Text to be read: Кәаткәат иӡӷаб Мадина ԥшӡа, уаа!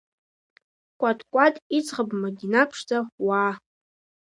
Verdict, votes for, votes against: accepted, 2, 1